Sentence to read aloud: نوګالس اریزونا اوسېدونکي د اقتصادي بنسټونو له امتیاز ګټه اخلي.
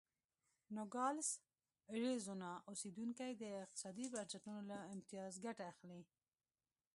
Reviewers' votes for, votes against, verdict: 2, 1, accepted